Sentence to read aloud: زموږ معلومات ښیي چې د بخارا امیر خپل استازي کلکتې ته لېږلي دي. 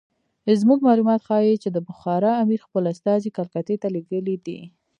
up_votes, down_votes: 1, 2